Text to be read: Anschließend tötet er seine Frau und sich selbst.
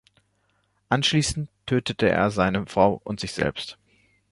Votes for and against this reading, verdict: 2, 1, accepted